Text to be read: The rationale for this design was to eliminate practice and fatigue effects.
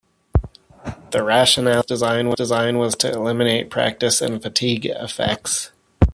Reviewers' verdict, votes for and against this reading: rejected, 0, 2